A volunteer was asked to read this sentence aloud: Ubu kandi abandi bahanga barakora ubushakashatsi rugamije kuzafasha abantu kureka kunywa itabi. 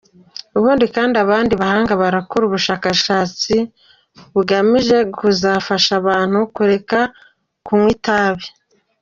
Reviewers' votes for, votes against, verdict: 1, 2, rejected